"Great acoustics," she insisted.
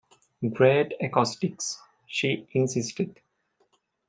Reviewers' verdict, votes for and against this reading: accepted, 2, 1